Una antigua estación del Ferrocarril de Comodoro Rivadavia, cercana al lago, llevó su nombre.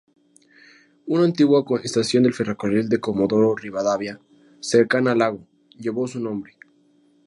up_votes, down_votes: 2, 0